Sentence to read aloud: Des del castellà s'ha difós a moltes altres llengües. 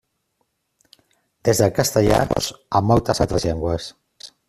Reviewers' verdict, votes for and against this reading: rejected, 0, 2